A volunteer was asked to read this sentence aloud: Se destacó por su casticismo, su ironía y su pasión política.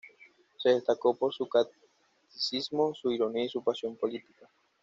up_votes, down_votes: 1, 2